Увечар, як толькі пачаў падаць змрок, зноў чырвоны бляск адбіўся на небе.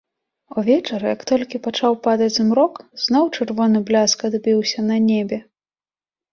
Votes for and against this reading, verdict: 3, 0, accepted